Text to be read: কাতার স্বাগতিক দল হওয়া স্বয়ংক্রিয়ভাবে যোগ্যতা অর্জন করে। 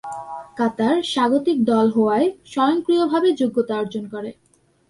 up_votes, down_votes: 1, 2